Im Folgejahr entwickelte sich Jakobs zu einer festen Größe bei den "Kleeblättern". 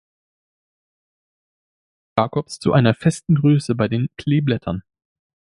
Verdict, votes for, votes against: rejected, 0, 2